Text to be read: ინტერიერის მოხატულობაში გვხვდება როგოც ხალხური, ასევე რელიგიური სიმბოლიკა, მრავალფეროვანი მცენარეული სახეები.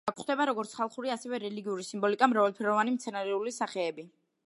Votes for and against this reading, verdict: 1, 2, rejected